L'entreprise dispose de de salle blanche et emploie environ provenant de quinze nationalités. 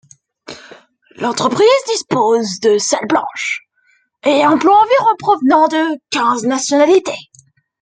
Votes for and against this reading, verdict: 1, 2, rejected